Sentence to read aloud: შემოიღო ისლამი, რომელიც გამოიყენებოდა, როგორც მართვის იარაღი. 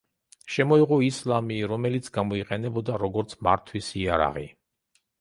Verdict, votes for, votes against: accepted, 2, 0